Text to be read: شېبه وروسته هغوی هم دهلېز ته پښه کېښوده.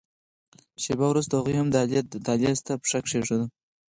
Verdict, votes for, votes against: rejected, 2, 4